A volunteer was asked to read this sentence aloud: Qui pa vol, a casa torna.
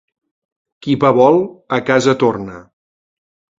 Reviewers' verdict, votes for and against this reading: accepted, 2, 0